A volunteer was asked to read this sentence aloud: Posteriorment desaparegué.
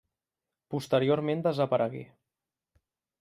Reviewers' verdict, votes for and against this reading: accepted, 2, 0